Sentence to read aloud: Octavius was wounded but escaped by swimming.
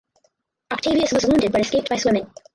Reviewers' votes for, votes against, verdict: 0, 2, rejected